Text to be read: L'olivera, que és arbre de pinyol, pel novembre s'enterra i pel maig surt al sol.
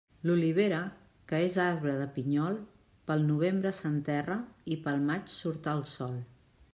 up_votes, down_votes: 3, 0